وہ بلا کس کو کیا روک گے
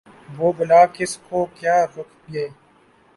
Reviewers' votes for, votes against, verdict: 0, 2, rejected